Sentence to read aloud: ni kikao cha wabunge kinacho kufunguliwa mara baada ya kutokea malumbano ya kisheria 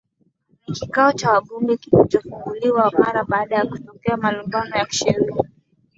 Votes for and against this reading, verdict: 2, 0, accepted